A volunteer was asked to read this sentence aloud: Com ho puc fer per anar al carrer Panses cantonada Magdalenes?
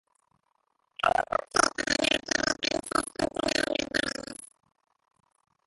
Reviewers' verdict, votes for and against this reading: rejected, 0, 2